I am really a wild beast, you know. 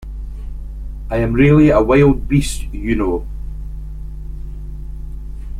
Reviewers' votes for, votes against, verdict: 2, 0, accepted